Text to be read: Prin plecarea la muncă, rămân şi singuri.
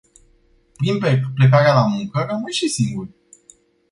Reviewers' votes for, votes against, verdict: 0, 2, rejected